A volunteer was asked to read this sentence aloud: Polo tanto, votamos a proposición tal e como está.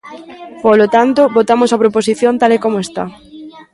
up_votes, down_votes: 1, 2